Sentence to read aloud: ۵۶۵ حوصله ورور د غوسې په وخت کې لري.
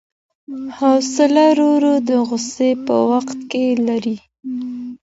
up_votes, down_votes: 0, 2